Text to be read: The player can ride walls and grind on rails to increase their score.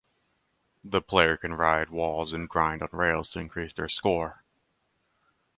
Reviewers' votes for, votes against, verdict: 2, 2, rejected